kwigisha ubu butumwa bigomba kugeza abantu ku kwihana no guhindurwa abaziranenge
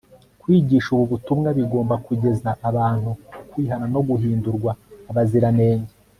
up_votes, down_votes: 2, 0